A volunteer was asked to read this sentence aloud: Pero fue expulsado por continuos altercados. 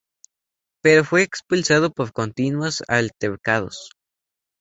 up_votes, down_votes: 4, 0